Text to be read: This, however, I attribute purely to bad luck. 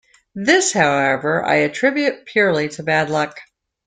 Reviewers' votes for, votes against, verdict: 2, 0, accepted